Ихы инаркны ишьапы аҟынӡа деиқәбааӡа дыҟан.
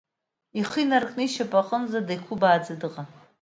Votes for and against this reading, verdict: 2, 0, accepted